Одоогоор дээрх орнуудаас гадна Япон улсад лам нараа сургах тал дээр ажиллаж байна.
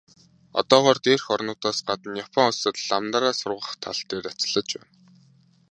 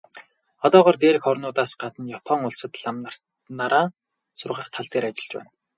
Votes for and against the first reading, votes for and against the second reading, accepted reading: 2, 0, 2, 4, first